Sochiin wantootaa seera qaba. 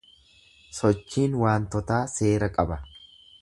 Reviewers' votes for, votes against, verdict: 1, 2, rejected